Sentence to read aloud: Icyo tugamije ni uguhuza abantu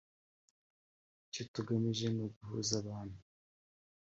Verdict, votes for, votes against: accepted, 3, 0